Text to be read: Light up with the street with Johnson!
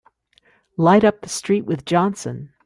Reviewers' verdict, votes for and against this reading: rejected, 2, 3